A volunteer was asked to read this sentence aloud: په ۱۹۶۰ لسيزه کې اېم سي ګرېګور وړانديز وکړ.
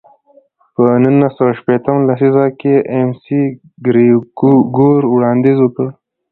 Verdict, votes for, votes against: rejected, 0, 2